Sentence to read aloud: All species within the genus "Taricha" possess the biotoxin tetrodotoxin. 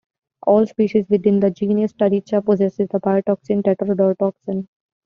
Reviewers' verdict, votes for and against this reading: accepted, 2, 0